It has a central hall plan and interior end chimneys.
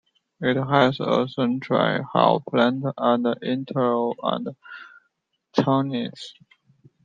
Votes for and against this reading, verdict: 1, 2, rejected